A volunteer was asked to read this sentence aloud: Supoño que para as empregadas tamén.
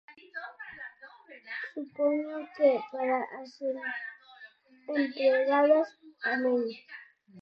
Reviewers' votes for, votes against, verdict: 0, 4, rejected